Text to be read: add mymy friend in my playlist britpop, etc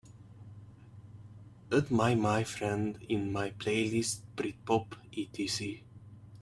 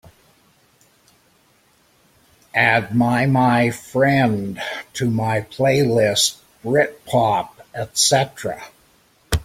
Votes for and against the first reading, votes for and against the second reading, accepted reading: 3, 2, 0, 2, first